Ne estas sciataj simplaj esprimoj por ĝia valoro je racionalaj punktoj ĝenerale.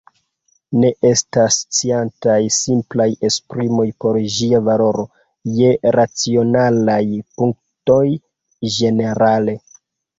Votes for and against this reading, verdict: 0, 2, rejected